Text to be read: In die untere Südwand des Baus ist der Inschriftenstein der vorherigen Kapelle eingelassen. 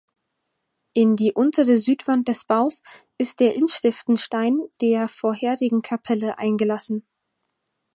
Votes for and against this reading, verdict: 4, 0, accepted